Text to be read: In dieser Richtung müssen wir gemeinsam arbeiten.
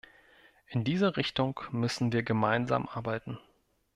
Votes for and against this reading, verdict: 2, 0, accepted